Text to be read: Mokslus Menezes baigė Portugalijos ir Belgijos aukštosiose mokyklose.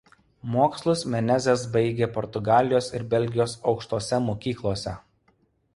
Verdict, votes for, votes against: rejected, 0, 2